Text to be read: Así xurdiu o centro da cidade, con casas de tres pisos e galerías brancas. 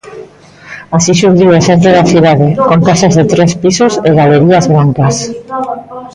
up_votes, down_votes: 0, 2